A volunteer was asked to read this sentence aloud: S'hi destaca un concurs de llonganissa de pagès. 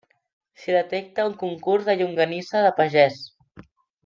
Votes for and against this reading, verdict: 0, 2, rejected